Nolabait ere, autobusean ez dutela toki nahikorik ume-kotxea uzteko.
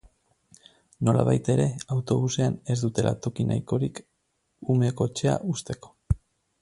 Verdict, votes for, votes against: accepted, 2, 0